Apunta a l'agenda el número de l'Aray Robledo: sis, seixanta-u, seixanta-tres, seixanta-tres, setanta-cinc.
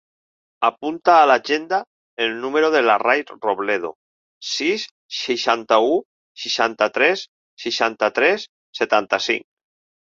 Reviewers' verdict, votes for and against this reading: rejected, 0, 4